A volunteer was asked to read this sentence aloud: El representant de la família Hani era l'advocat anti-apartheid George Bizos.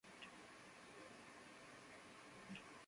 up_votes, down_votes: 0, 2